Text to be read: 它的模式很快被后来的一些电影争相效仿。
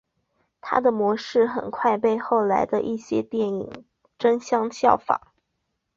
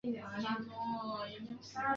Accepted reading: first